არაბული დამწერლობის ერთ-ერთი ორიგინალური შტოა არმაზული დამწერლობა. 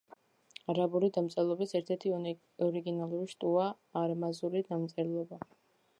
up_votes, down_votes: 0, 2